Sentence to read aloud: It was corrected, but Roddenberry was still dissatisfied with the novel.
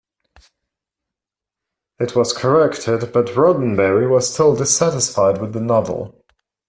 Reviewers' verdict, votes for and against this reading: rejected, 0, 2